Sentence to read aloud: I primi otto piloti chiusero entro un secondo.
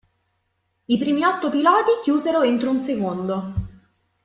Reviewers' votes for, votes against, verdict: 1, 2, rejected